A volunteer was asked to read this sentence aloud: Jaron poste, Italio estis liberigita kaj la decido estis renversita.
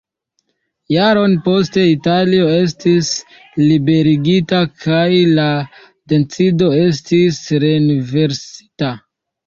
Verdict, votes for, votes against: rejected, 1, 2